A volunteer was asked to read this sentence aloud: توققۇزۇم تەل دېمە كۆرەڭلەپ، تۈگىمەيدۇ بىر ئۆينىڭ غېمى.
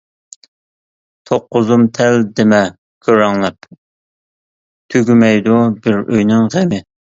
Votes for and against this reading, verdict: 2, 0, accepted